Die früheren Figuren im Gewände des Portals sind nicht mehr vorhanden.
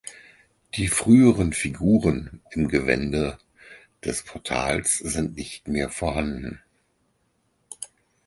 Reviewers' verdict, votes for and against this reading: accepted, 4, 0